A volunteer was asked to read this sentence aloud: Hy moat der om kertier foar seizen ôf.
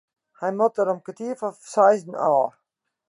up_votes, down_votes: 2, 1